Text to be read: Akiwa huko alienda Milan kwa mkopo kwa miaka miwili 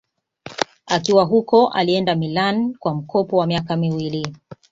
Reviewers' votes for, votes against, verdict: 2, 0, accepted